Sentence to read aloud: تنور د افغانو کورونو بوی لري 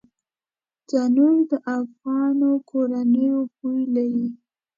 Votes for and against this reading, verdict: 2, 0, accepted